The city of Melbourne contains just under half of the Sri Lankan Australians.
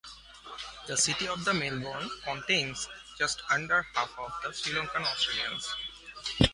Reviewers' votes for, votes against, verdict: 1, 2, rejected